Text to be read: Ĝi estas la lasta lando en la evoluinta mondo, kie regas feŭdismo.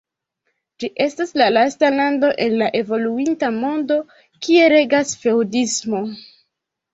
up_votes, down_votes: 0, 2